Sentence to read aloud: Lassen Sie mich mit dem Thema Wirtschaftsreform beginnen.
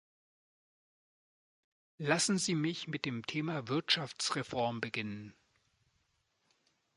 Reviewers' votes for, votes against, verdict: 2, 0, accepted